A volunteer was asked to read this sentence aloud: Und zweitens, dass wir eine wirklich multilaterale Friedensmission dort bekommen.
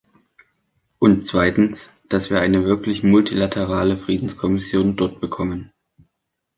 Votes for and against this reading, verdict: 0, 2, rejected